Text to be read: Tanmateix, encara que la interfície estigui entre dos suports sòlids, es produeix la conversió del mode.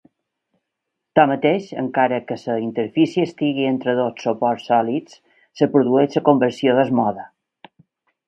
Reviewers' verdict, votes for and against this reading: rejected, 0, 2